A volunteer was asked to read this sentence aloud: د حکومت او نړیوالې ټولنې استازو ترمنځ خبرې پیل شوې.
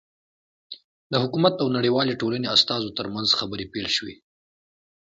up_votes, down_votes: 2, 0